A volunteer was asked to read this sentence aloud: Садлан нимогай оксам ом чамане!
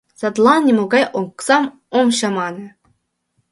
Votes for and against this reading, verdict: 2, 1, accepted